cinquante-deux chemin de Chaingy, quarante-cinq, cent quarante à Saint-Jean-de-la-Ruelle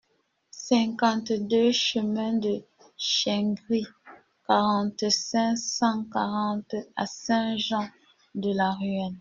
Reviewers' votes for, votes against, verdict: 1, 2, rejected